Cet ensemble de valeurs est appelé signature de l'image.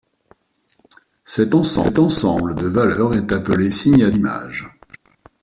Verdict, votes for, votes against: rejected, 0, 2